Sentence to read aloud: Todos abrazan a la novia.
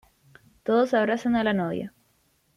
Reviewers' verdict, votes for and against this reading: accepted, 2, 0